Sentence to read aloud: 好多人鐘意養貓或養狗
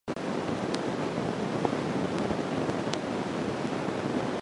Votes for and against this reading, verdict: 0, 2, rejected